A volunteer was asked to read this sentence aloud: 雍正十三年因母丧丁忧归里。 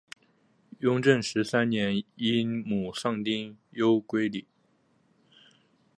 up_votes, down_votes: 3, 1